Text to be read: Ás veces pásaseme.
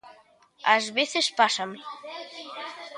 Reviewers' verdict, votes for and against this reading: rejected, 0, 2